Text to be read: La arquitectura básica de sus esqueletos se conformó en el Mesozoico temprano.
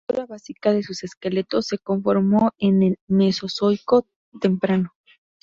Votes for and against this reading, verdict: 2, 6, rejected